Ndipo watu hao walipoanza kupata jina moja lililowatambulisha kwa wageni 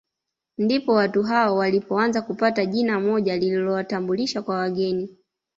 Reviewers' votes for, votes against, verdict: 2, 0, accepted